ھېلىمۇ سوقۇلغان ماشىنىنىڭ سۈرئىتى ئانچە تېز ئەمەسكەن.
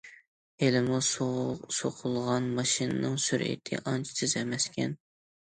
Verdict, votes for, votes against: rejected, 0, 2